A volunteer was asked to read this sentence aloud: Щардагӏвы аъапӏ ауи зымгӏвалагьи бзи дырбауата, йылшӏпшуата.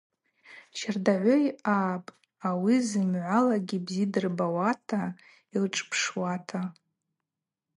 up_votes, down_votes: 2, 2